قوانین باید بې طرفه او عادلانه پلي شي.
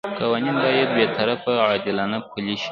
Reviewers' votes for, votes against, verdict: 2, 0, accepted